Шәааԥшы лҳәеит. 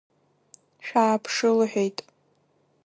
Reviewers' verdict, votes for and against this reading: rejected, 1, 2